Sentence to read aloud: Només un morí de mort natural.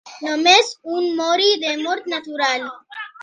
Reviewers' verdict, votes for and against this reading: rejected, 1, 2